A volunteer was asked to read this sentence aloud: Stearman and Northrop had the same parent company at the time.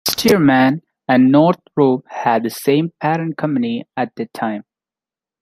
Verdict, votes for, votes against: rejected, 0, 2